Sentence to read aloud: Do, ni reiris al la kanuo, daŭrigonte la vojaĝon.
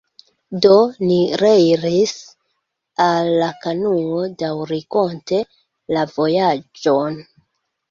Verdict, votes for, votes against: rejected, 0, 2